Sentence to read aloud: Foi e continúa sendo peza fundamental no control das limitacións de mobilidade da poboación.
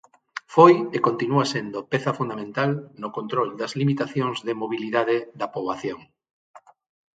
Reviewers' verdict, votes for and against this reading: accepted, 6, 0